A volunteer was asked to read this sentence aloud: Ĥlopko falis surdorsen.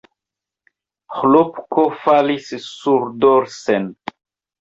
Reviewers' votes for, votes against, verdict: 1, 2, rejected